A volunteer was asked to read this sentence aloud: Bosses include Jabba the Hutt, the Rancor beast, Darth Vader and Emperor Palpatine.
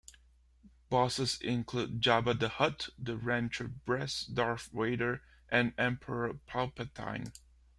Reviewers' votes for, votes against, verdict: 0, 2, rejected